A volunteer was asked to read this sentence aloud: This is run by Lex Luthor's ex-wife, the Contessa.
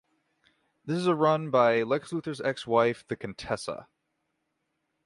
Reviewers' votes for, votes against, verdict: 0, 3, rejected